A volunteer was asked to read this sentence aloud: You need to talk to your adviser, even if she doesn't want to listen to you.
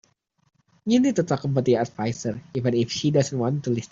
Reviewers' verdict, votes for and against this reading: rejected, 0, 2